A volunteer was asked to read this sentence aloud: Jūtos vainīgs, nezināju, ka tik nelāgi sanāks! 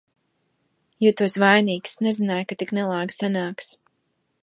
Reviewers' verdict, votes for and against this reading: accepted, 2, 0